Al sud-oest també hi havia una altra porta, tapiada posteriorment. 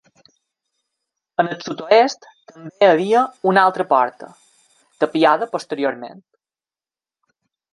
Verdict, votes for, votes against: accepted, 2, 1